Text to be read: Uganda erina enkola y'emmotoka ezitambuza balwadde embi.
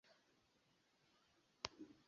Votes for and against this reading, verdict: 0, 2, rejected